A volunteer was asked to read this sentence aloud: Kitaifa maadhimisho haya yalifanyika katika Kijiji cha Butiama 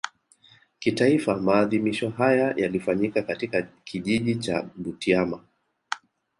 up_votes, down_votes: 2, 0